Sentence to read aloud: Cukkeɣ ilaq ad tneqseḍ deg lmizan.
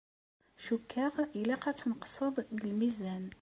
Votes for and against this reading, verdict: 2, 0, accepted